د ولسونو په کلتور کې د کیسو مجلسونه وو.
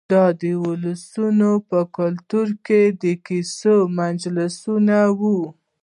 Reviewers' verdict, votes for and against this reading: accepted, 2, 0